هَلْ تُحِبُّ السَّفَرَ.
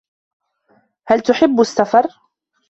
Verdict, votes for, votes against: accepted, 2, 0